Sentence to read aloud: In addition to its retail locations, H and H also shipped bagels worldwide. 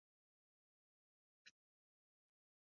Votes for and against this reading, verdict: 0, 2, rejected